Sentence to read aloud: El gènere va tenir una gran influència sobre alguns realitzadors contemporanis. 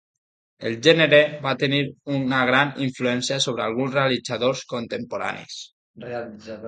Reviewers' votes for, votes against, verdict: 0, 2, rejected